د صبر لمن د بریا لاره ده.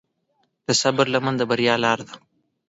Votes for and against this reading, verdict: 2, 1, accepted